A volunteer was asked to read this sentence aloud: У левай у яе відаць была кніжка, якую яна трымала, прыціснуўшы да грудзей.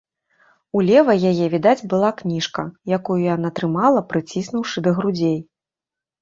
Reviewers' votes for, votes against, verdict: 1, 2, rejected